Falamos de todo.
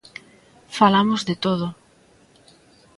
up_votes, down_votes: 2, 0